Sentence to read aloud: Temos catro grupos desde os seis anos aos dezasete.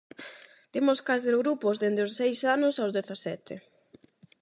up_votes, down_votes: 0, 8